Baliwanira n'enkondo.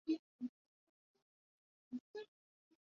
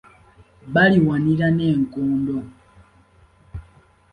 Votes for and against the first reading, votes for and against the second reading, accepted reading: 0, 2, 2, 0, second